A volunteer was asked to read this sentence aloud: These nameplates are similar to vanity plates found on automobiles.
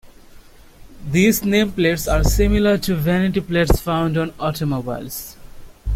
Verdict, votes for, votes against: accepted, 2, 0